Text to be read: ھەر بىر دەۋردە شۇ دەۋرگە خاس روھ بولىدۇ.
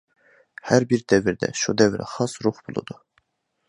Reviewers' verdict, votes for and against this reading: accepted, 2, 0